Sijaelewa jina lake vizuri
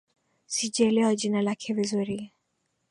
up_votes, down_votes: 7, 0